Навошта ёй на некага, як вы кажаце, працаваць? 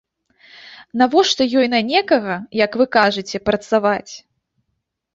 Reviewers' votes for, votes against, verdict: 2, 0, accepted